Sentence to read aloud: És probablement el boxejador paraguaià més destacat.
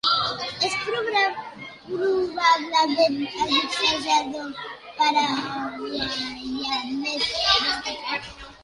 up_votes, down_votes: 0, 2